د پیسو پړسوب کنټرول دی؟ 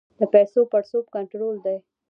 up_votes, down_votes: 2, 0